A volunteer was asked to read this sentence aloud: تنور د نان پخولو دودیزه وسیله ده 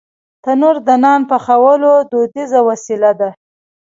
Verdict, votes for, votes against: rejected, 0, 2